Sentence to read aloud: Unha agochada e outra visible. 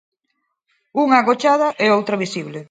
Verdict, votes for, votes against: accepted, 4, 0